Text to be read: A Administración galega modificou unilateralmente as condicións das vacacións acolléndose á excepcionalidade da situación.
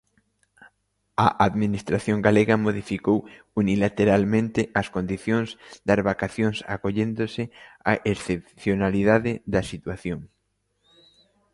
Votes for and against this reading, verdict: 2, 0, accepted